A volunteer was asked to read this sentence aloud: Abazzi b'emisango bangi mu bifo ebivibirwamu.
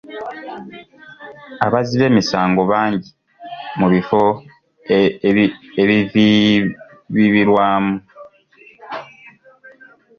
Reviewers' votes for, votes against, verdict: 0, 2, rejected